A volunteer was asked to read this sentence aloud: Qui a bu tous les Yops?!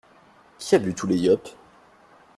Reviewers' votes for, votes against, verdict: 2, 1, accepted